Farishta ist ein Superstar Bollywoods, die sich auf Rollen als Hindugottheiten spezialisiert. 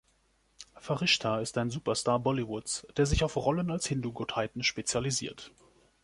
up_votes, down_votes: 1, 2